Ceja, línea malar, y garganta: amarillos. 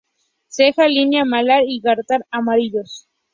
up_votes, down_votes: 0, 2